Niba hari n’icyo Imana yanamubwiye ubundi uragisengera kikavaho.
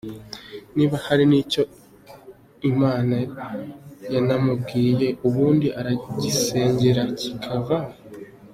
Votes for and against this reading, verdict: 2, 0, accepted